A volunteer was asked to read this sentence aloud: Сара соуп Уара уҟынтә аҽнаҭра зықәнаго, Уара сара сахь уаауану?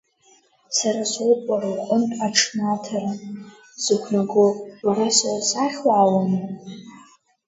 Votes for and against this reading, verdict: 0, 2, rejected